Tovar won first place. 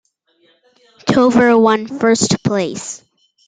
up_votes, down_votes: 2, 0